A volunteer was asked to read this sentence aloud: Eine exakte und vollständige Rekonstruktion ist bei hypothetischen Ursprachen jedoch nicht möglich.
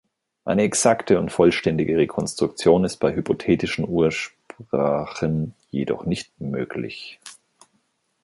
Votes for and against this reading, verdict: 1, 2, rejected